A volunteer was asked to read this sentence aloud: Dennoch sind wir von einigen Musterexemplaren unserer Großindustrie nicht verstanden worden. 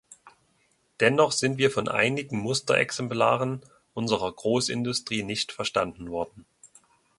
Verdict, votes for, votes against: accepted, 2, 0